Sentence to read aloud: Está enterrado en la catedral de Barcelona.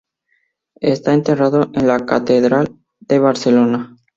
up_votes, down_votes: 0, 2